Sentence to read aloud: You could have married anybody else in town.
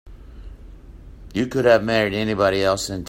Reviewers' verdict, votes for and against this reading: rejected, 0, 2